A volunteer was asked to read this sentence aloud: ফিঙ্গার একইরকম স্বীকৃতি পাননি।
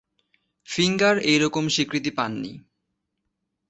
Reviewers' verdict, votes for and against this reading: rejected, 1, 2